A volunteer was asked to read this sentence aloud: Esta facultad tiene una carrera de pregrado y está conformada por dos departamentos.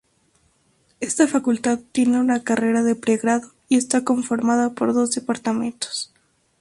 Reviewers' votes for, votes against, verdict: 2, 0, accepted